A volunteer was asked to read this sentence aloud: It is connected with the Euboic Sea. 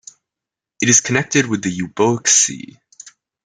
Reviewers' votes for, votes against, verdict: 1, 2, rejected